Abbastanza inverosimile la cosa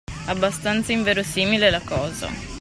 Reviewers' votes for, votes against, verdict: 2, 0, accepted